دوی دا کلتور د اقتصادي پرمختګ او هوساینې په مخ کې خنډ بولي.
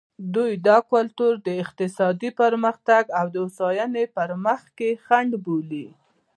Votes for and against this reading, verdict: 2, 0, accepted